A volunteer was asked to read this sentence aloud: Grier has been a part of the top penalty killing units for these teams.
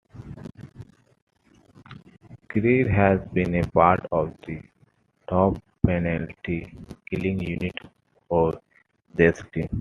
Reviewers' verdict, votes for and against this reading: rejected, 0, 2